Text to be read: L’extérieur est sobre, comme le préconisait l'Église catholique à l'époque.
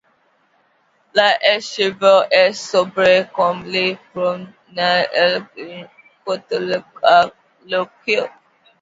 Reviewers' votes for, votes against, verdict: 0, 2, rejected